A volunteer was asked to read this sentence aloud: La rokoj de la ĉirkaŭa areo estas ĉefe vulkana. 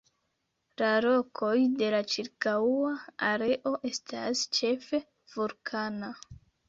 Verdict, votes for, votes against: rejected, 1, 2